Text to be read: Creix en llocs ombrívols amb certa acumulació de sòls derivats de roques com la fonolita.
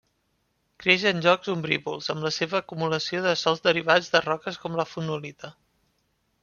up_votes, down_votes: 0, 3